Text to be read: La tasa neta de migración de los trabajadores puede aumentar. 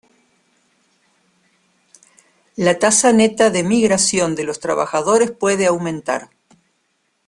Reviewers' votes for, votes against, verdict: 2, 0, accepted